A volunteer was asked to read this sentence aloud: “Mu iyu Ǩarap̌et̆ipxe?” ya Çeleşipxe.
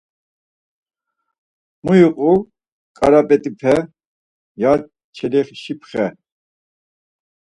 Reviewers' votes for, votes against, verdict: 2, 4, rejected